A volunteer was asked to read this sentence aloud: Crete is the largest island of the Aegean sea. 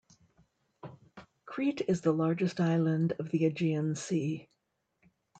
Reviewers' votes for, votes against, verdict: 2, 0, accepted